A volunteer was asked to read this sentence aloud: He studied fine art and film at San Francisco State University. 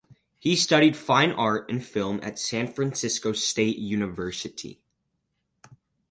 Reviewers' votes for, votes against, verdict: 4, 0, accepted